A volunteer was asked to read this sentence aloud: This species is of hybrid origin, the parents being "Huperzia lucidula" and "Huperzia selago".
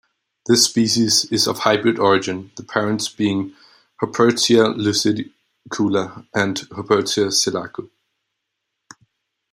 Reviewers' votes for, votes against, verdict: 0, 2, rejected